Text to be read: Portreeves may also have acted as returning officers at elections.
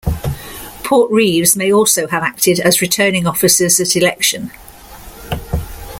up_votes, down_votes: 0, 2